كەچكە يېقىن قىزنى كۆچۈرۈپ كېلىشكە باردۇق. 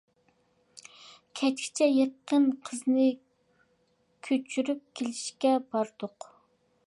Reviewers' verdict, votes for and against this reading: rejected, 0, 2